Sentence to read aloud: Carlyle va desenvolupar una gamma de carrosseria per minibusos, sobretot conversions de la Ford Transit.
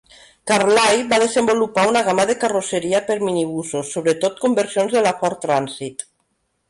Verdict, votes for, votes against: accepted, 2, 1